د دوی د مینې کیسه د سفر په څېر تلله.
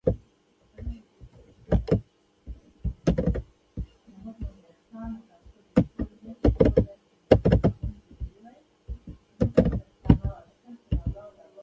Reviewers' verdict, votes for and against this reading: rejected, 0, 2